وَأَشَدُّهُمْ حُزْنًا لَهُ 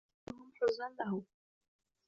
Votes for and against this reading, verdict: 1, 2, rejected